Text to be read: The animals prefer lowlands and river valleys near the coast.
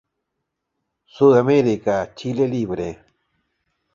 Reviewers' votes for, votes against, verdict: 0, 2, rejected